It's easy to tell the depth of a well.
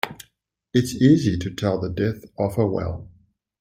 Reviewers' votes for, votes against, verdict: 1, 2, rejected